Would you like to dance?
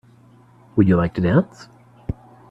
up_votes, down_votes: 2, 0